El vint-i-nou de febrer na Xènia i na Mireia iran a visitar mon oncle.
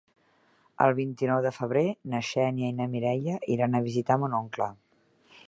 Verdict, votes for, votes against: accepted, 3, 0